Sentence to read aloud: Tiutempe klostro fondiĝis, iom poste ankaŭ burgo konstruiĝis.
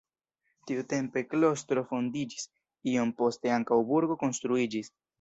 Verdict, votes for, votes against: rejected, 1, 2